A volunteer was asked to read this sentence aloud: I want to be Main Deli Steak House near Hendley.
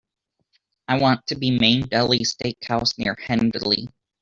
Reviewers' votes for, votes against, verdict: 2, 1, accepted